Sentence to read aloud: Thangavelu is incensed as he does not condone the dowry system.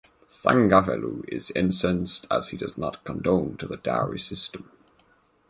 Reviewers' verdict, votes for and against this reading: rejected, 2, 2